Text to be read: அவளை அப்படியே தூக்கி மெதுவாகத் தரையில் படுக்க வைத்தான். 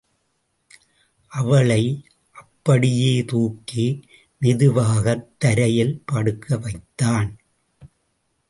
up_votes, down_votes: 2, 0